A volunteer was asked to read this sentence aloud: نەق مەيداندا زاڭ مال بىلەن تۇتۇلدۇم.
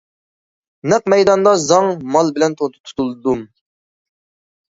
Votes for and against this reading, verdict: 0, 2, rejected